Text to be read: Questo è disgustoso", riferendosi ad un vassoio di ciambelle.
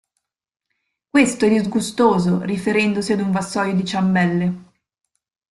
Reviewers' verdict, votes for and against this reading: rejected, 1, 2